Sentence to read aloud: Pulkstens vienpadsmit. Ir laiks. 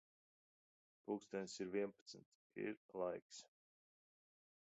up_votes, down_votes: 0, 2